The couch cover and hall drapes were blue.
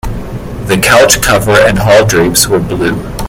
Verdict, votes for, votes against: accepted, 2, 0